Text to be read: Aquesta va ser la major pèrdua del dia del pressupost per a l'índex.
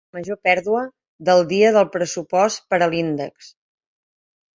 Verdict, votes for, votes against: rejected, 0, 4